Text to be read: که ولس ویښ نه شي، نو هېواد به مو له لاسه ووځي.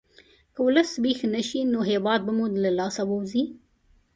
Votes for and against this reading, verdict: 2, 0, accepted